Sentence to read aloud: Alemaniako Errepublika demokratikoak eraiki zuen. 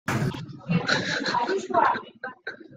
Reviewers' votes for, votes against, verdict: 0, 3, rejected